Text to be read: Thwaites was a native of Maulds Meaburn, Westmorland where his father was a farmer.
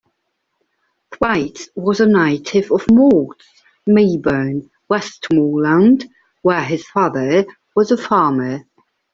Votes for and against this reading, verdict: 0, 2, rejected